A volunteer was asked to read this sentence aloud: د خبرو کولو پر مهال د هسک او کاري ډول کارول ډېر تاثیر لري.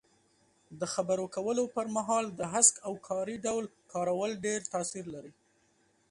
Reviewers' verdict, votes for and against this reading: rejected, 0, 2